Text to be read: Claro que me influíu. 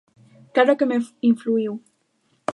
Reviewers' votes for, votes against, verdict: 0, 2, rejected